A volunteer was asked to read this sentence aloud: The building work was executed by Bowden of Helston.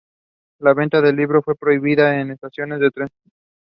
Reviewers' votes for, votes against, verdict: 0, 2, rejected